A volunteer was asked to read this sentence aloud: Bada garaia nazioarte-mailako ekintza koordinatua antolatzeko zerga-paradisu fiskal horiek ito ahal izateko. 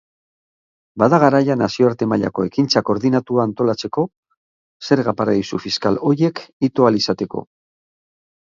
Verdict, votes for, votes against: accepted, 3, 0